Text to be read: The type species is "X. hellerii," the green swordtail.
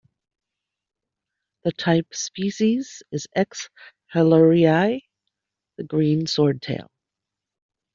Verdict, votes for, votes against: rejected, 1, 2